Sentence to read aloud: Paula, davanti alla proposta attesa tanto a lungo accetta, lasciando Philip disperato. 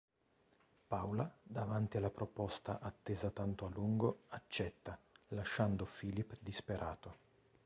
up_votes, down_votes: 1, 2